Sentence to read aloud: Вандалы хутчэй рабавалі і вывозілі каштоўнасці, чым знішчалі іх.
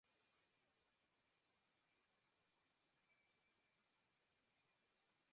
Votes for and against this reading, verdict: 0, 2, rejected